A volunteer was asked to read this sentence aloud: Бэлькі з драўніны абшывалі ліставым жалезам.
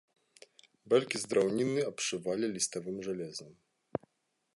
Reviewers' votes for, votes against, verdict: 2, 0, accepted